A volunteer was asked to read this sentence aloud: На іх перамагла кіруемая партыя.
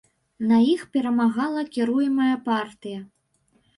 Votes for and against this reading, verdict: 1, 2, rejected